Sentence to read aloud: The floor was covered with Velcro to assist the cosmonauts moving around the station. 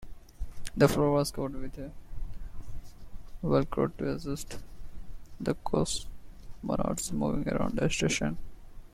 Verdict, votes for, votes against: accepted, 2, 1